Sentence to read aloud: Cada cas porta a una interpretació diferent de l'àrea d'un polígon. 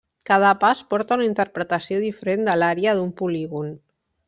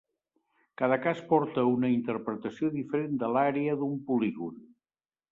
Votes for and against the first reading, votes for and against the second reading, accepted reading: 0, 2, 2, 1, second